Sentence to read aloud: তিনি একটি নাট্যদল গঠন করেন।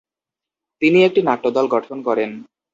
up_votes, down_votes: 2, 0